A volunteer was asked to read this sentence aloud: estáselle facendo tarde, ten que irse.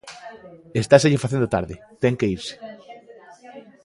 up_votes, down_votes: 2, 1